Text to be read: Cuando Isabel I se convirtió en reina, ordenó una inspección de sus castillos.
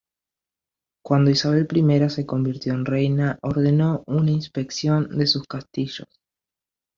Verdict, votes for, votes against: rejected, 1, 2